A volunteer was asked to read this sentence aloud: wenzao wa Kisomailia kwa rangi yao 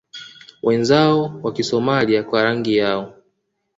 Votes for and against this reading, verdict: 2, 0, accepted